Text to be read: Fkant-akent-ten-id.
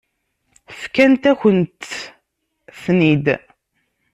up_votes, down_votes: 0, 2